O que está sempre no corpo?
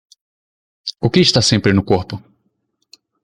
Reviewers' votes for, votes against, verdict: 2, 0, accepted